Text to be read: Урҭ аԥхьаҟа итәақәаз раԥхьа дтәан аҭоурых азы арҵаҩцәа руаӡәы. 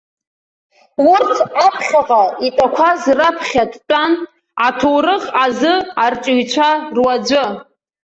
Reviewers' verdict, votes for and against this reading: accepted, 2, 0